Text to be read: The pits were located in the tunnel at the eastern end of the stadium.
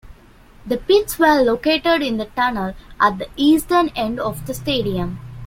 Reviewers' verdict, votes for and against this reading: accepted, 2, 1